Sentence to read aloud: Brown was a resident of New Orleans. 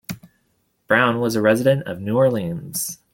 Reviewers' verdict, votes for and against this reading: accepted, 2, 0